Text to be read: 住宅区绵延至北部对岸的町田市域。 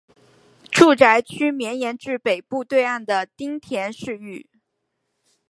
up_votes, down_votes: 3, 0